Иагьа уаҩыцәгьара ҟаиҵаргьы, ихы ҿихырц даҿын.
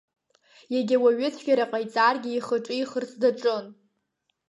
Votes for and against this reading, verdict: 3, 0, accepted